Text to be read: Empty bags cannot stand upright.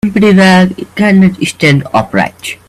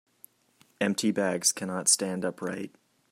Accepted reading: second